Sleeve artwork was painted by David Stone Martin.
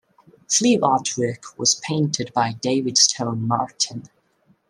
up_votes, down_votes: 2, 0